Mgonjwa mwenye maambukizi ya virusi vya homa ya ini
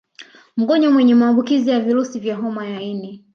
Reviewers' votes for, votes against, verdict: 1, 2, rejected